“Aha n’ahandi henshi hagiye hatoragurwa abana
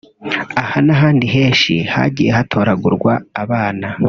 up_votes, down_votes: 3, 0